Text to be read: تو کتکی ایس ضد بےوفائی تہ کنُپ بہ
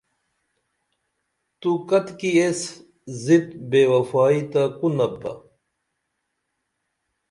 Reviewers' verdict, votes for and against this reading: accepted, 2, 0